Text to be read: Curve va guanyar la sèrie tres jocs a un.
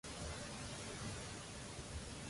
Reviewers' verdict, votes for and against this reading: rejected, 0, 2